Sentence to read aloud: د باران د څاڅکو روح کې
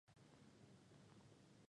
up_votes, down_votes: 0, 2